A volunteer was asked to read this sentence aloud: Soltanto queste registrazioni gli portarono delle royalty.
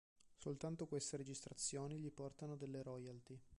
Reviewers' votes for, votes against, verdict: 1, 2, rejected